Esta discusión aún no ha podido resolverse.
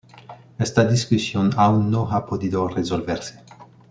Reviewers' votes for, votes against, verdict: 2, 0, accepted